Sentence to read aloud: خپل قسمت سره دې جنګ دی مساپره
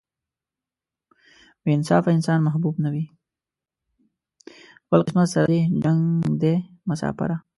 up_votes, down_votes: 1, 2